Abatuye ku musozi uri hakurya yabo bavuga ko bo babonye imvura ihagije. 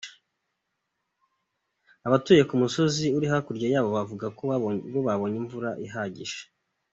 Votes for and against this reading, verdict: 2, 0, accepted